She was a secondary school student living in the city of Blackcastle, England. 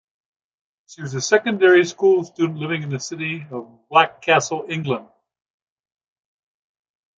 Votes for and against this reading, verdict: 2, 0, accepted